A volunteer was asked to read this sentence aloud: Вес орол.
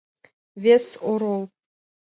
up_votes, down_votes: 1, 2